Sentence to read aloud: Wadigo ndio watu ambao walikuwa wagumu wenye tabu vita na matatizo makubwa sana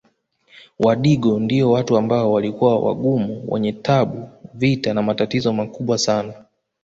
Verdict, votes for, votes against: rejected, 1, 2